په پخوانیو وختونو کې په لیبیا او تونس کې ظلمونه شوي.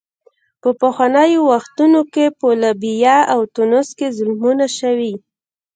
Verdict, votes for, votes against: rejected, 1, 2